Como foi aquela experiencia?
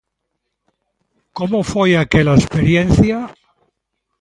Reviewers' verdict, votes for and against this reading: accepted, 2, 0